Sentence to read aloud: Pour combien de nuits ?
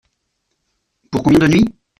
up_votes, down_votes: 0, 2